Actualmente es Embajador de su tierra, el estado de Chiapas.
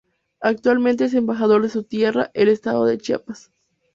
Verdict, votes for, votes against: accepted, 2, 0